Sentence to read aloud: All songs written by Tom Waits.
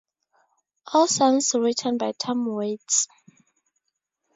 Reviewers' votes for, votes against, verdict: 4, 0, accepted